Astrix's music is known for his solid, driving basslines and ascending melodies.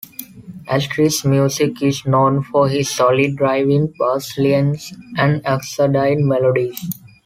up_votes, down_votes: 0, 2